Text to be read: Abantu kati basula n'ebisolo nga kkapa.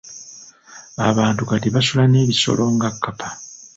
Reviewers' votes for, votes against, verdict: 3, 0, accepted